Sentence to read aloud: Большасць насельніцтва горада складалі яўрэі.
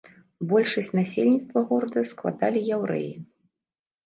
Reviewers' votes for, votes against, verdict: 2, 0, accepted